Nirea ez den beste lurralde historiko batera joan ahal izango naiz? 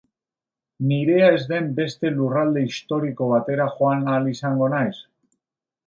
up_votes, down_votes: 1, 2